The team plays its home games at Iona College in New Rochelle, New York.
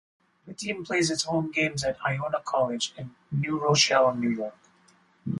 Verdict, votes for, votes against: accepted, 4, 0